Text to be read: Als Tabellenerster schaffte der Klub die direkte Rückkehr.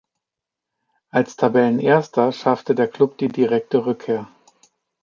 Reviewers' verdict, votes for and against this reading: accepted, 2, 0